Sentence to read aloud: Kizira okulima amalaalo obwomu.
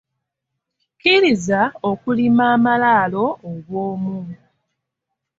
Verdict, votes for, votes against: rejected, 1, 2